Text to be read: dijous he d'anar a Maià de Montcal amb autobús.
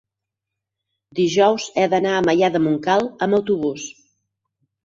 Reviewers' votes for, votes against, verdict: 0, 4, rejected